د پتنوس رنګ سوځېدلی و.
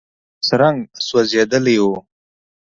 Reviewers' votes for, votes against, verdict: 1, 2, rejected